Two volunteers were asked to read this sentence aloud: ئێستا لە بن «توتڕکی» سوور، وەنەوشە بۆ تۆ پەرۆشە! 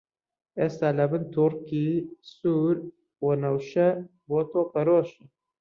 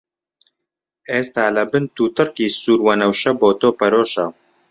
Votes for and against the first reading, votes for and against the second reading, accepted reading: 0, 2, 2, 0, second